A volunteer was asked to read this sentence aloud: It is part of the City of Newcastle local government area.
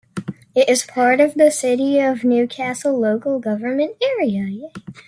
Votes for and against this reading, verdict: 2, 0, accepted